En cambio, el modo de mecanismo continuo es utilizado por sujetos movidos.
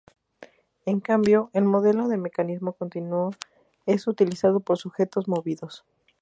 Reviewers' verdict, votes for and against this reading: rejected, 0, 2